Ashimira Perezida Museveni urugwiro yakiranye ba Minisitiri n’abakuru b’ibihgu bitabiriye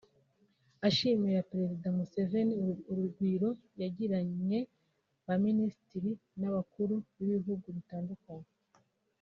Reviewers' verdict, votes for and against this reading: rejected, 0, 2